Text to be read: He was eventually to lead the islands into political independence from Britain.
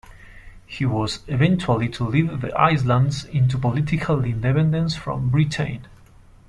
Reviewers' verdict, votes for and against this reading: accepted, 2, 0